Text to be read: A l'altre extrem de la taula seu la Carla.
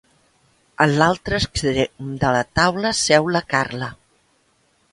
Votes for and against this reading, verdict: 1, 2, rejected